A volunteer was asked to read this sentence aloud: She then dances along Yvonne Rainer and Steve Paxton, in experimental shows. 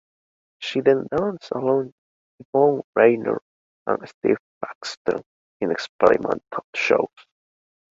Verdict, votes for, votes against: accepted, 2, 0